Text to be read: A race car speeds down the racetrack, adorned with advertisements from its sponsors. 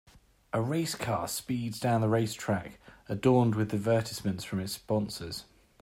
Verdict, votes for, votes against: accepted, 3, 0